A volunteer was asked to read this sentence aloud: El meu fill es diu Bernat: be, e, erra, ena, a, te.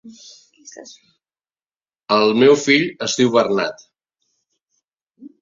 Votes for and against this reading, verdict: 1, 2, rejected